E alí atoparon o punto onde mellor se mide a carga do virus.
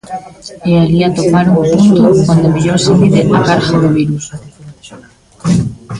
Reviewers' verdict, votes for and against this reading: rejected, 0, 2